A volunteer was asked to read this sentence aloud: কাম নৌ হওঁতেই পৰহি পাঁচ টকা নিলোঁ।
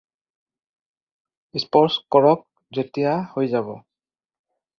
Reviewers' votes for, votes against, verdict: 0, 2, rejected